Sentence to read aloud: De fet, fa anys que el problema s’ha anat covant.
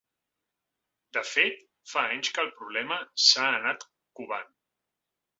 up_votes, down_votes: 3, 0